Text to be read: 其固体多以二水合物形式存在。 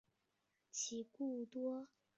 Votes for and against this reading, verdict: 0, 2, rejected